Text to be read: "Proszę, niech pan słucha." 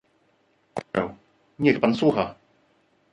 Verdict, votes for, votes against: rejected, 0, 2